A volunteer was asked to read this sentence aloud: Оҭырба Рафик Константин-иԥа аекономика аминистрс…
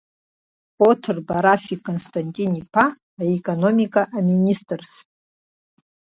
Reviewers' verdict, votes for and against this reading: accepted, 2, 0